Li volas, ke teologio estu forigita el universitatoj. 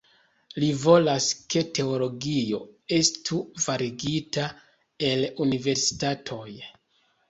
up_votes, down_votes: 0, 2